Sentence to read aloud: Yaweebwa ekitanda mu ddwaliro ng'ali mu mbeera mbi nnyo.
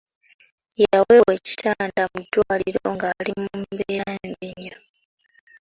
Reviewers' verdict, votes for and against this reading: accepted, 2, 0